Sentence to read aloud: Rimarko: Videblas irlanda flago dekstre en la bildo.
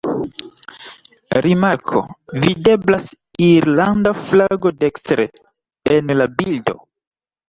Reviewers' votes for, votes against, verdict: 0, 2, rejected